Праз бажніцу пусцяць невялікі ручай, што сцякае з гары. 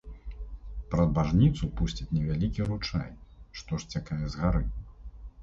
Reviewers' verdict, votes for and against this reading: accepted, 2, 0